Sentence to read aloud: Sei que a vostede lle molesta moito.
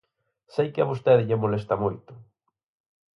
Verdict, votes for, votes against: accepted, 4, 0